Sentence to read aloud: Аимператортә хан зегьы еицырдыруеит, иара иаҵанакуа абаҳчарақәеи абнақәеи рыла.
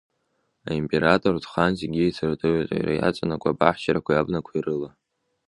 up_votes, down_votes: 1, 2